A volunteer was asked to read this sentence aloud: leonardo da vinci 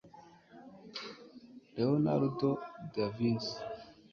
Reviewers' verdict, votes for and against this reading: rejected, 1, 2